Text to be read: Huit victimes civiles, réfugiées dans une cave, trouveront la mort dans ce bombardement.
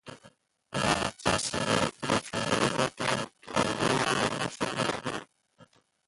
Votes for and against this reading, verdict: 0, 2, rejected